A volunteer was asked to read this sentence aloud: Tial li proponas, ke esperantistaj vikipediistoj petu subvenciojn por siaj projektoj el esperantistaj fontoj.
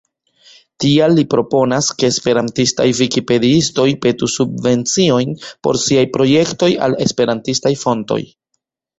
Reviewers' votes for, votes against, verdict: 2, 0, accepted